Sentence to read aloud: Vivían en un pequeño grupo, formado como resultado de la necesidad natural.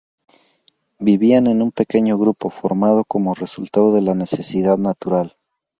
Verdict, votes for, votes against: accepted, 2, 0